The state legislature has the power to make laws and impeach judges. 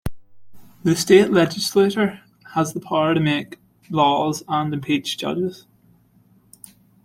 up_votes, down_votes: 2, 0